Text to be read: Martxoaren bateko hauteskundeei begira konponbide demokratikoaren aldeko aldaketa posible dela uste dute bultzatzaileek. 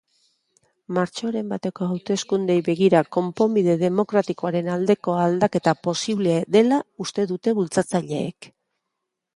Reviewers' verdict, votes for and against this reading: accepted, 2, 0